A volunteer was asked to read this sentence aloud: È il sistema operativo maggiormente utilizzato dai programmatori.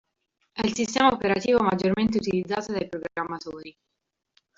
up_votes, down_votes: 1, 2